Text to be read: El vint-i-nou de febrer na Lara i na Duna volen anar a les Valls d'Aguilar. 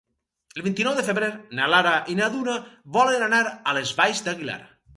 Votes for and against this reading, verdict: 4, 0, accepted